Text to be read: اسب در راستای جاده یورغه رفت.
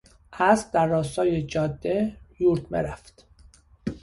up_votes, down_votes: 1, 2